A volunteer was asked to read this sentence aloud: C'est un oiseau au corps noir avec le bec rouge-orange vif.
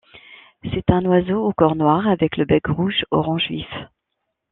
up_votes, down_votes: 2, 0